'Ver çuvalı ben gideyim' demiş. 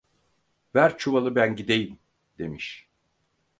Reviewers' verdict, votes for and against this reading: rejected, 2, 4